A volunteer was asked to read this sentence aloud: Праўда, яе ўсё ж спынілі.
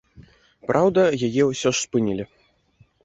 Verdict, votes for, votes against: accepted, 2, 0